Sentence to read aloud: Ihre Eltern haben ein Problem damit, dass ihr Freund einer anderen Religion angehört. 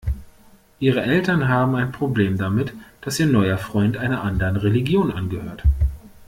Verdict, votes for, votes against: rejected, 0, 2